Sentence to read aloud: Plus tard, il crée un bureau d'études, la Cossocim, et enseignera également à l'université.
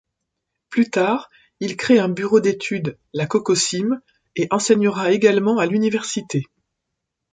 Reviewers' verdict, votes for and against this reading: rejected, 1, 2